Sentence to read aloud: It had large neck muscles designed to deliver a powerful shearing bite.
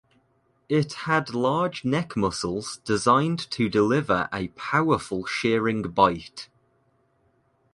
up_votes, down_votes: 2, 0